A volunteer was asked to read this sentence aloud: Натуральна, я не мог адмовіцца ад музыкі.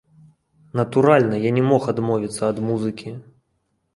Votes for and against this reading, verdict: 2, 0, accepted